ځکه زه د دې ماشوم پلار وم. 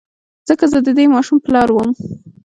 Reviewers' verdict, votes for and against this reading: accepted, 3, 0